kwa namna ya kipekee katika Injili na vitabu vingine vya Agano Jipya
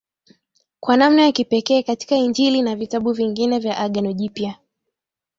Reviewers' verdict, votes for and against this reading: accepted, 3, 0